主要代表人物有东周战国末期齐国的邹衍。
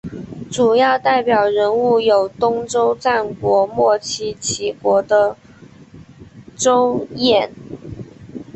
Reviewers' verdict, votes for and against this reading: accepted, 2, 1